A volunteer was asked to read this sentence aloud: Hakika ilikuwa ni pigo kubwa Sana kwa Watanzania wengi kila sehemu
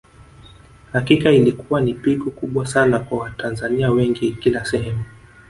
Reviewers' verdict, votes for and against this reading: rejected, 1, 2